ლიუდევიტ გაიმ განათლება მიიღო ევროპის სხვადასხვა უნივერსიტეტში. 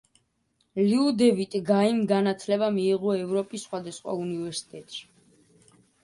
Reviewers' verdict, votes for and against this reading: accepted, 2, 0